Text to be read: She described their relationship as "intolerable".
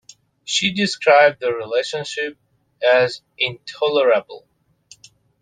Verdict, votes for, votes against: accepted, 2, 0